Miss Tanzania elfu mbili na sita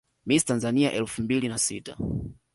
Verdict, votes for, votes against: accepted, 2, 0